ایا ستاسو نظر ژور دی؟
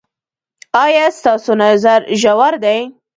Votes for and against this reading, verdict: 1, 2, rejected